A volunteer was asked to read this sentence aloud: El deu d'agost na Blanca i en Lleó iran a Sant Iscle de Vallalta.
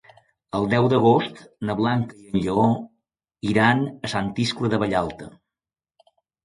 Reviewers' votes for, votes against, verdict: 0, 2, rejected